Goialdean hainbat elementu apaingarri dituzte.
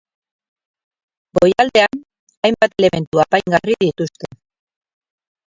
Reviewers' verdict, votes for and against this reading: rejected, 0, 4